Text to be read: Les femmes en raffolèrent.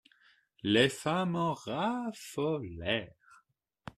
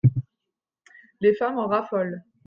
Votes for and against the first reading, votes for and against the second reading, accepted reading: 2, 0, 0, 2, first